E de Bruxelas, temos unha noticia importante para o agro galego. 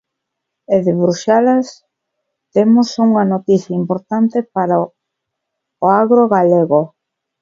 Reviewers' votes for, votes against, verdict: 0, 2, rejected